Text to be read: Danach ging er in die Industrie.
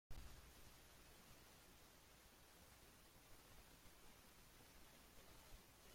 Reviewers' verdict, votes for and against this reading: rejected, 0, 2